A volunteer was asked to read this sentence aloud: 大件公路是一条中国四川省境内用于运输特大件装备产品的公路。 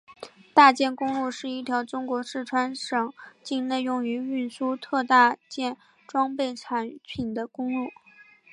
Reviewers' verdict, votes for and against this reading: accepted, 2, 0